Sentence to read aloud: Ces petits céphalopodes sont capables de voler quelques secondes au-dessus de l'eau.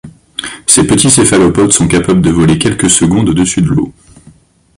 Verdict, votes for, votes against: accepted, 2, 0